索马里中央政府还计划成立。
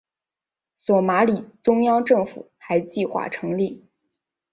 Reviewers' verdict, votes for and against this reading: rejected, 1, 2